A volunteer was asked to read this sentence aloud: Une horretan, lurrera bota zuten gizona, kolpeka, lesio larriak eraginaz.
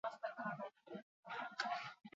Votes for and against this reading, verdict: 0, 6, rejected